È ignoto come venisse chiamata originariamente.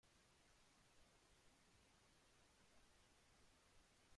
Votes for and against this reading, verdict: 1, 2, rejected